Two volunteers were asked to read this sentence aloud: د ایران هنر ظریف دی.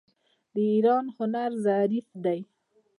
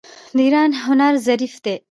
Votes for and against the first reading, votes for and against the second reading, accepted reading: 2, 1, 1, 2, first